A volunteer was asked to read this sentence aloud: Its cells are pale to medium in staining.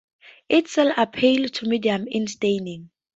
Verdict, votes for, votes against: rejected, 0, 2